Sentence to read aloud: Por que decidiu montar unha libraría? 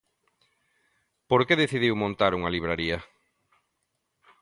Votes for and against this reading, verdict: 2, 0, accepted